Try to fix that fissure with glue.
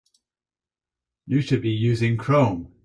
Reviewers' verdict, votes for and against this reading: rejected, 0, 4